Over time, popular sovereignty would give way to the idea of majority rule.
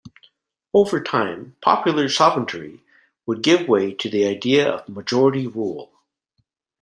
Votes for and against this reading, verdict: 0, 2, rejected